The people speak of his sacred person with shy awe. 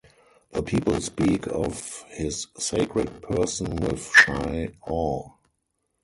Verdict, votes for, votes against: rejected, 2, 2